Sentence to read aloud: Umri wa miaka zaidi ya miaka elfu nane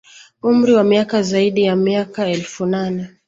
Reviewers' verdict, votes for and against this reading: accepted, 2, 0